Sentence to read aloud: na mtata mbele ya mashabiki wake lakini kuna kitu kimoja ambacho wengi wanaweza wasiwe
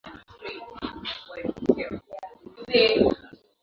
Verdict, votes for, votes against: rejected, 1, 9